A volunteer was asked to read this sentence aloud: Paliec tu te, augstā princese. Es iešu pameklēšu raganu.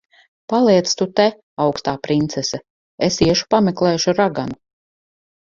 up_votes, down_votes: 4, 0